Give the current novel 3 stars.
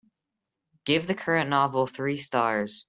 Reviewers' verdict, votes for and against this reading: rejected, 0, 2